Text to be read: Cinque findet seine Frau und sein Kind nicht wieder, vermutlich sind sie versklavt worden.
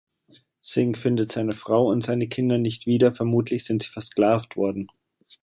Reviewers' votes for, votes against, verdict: 1, 2, rejected